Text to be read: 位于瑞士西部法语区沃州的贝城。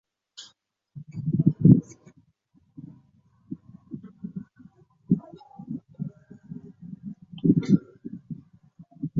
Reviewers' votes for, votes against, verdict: 0, 3, rejected